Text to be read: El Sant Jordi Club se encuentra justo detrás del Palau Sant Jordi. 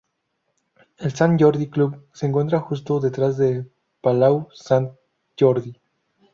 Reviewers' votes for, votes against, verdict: 2, 2, rejected